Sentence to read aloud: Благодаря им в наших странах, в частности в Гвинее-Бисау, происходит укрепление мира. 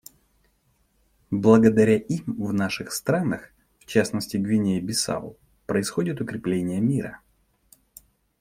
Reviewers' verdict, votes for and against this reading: accepted, 2, 0